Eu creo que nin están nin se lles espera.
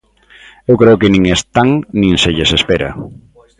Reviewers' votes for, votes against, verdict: 2, 1, accepted